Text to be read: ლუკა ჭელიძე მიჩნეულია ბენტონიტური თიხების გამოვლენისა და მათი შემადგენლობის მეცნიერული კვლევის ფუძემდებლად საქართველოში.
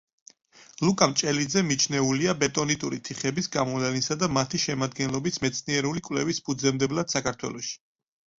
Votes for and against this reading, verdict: 0, 4, rejected